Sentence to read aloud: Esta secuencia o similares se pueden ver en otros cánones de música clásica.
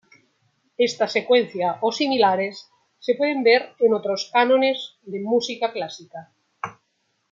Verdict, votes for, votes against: accepted, 2, 1